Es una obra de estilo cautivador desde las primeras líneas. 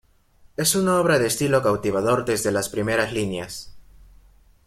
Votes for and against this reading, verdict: 2, 0, accepted